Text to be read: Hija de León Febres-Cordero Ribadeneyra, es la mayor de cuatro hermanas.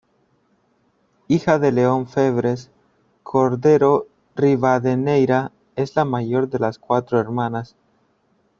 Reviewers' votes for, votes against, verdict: 0, 2, rejected